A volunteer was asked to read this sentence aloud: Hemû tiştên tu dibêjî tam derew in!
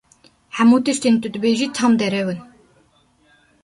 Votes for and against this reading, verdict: 2, 0, accepted